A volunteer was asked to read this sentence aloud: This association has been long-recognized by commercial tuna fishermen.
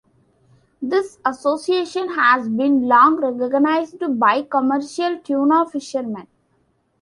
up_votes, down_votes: 2, 1